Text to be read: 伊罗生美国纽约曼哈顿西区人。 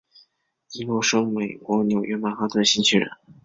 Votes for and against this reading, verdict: 2, 0, accepted